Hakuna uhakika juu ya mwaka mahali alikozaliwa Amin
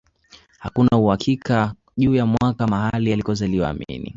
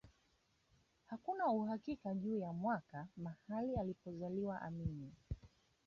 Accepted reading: first